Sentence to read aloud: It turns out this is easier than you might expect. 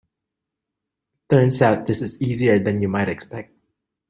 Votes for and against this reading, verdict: 1, 2, rejected